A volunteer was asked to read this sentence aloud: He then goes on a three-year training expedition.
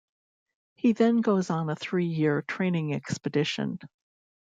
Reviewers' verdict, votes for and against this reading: accepted, 2, 0